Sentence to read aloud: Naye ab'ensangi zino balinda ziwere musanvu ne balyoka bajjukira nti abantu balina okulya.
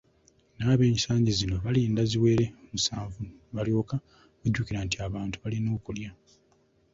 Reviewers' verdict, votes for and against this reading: accepted, 2, 0